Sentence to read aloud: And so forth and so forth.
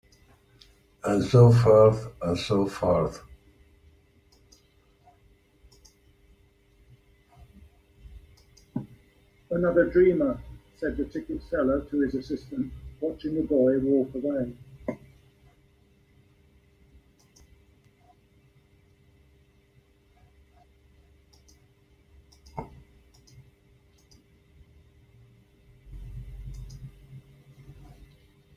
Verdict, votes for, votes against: rejected, 1, 2